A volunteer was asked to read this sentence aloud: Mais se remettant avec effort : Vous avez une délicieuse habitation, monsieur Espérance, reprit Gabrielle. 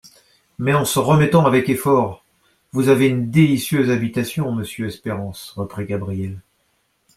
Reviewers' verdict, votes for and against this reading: rejected, 0, 2